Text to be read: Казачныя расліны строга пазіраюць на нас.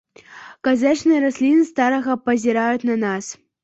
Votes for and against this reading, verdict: 0, 2, rejected